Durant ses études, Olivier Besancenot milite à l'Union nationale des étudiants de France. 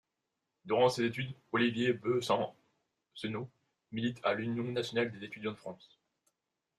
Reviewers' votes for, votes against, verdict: 1, 2, rejected